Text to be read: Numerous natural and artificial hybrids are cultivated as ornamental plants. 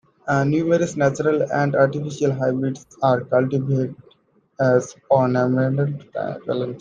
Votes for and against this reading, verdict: 0, 2, rejected